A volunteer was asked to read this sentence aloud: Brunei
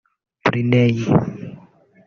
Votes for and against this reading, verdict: 0, 2, rejected